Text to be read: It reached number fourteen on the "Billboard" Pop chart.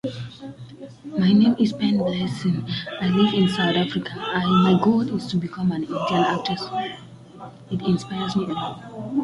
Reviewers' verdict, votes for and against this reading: rejected, 0, 2